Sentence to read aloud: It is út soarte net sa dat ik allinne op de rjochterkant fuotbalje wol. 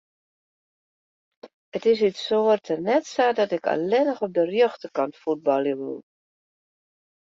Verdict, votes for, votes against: rejected, 1, 2